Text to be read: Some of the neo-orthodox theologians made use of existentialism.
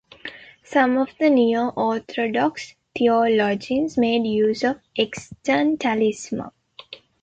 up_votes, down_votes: 0, 2